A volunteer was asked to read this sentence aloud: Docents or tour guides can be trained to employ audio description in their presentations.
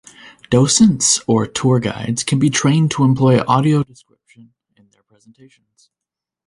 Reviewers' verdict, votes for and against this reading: rejected, 1, 2